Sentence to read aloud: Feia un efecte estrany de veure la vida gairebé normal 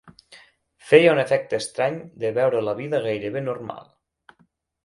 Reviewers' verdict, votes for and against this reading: accepted, 6, 0